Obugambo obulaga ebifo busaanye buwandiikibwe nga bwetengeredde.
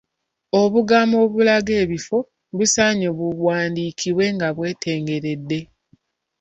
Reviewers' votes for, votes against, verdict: 2, 0, accepted